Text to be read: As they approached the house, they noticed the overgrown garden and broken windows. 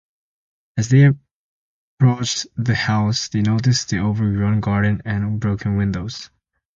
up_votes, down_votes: 2, 0